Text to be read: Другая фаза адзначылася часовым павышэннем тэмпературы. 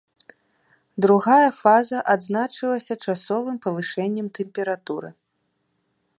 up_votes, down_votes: 2, 0